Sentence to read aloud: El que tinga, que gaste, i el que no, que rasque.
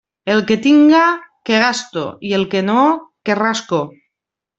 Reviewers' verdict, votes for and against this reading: rejected, 0, 2